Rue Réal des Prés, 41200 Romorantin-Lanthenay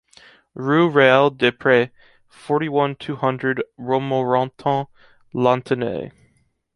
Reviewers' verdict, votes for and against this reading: rejected, 0, 2